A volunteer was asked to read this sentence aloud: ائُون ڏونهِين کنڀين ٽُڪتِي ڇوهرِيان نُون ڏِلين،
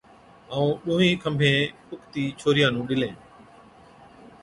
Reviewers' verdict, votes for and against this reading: accepted, 3, 0